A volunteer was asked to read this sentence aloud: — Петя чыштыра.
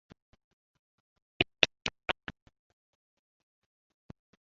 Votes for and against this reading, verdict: 0, 2, rejected